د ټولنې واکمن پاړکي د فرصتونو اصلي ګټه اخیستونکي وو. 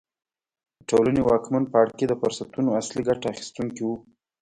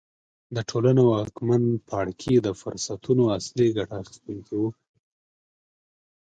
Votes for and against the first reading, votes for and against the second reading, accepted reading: 1, 2, 2, 0, second